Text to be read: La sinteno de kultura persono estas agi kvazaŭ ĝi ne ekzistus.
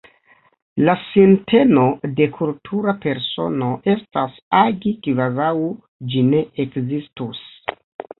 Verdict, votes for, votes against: rejected, 1, 2